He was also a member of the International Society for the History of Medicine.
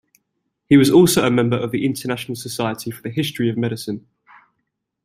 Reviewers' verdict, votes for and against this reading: accepted, 2, 0